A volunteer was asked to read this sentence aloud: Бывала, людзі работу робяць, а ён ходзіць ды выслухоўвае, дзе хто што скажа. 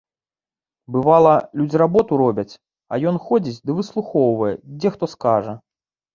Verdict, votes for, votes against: rejected, 0, 2